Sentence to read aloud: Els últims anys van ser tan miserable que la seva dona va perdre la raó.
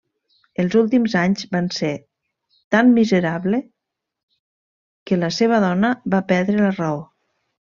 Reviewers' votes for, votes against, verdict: 1, 2, rejected